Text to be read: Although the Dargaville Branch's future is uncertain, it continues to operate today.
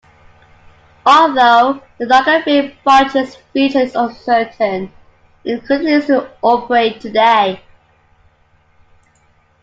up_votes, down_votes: 1, 2